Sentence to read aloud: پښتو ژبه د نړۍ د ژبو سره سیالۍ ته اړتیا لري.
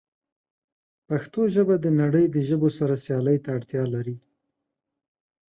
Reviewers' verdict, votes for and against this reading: accepted, 2, 0